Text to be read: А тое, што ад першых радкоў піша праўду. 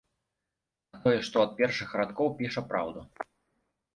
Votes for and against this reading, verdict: 2, 0, accepted